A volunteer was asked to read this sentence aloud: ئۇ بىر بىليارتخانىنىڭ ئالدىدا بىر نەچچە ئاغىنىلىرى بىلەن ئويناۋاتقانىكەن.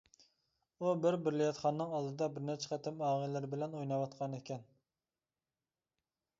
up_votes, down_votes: 0, 2